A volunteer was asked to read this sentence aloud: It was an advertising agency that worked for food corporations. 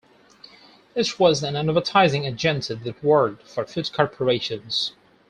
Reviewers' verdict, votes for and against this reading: accepted, 4, 2